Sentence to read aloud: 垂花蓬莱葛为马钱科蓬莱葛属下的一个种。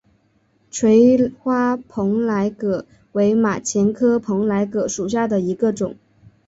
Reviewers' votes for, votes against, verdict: 2, 0, accepted